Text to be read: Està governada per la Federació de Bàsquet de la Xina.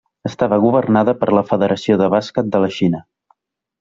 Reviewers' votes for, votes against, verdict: 0, 2, rejected